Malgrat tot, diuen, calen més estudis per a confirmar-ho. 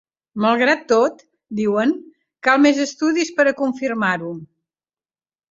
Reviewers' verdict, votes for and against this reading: rejected, 1, 2